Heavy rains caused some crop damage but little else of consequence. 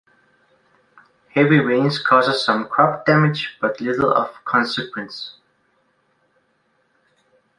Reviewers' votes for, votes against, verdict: 1, 2, rejected